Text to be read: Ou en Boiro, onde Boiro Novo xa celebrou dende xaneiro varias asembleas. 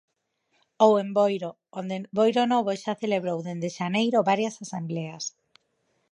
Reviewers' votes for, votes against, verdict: 0, 4, rejected